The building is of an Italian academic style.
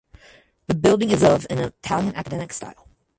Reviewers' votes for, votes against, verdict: 0, 4, rejected